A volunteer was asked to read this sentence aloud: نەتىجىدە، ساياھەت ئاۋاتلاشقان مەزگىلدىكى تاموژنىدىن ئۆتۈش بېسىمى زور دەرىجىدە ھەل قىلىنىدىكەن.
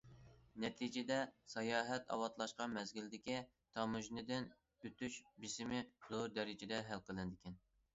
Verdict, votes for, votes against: accepted, 2, 0